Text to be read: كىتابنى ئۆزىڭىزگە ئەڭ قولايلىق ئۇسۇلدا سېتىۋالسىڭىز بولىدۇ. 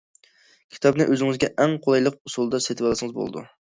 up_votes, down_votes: 2, 0